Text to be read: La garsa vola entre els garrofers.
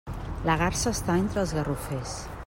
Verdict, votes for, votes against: rejected, 1, 2